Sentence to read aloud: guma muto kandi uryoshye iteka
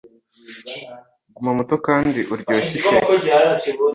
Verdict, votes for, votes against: accepted, 2, 1